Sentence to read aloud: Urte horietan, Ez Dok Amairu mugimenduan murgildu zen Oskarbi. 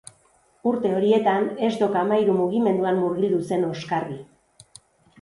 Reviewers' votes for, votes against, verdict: 2, 0, accepted